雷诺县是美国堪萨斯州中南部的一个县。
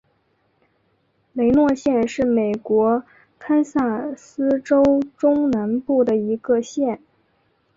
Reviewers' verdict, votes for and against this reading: accepted, 2, 1